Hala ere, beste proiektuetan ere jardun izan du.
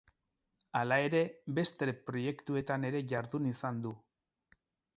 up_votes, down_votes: 0, 2